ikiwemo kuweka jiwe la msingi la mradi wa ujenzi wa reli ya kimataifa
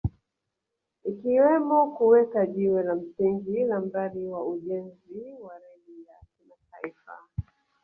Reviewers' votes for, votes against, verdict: 1, 2, rejected